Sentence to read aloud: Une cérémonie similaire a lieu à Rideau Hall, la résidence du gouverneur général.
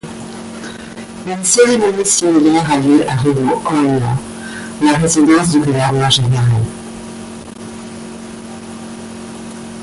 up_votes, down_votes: 0, 2